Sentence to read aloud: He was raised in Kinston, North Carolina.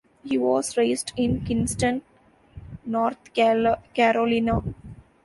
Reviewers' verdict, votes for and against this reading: rejected, 0, 2